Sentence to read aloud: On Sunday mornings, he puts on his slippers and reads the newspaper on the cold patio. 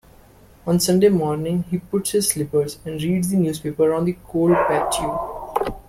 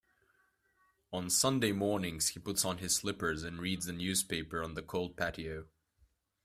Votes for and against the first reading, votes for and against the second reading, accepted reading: 1, 2, 2, 0, second